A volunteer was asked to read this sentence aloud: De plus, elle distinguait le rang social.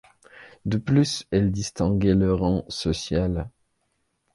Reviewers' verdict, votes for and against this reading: accepted, 2, 0